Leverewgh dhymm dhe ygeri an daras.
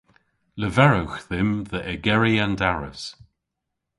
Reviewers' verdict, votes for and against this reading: accepted, 2, 0